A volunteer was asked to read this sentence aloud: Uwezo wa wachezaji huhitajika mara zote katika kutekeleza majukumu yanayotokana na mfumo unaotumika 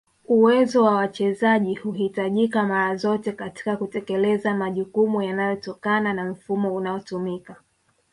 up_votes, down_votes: 1, 2